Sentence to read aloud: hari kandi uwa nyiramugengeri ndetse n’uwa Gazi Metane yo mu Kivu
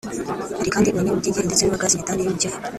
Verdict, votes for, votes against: rejected, 0, 2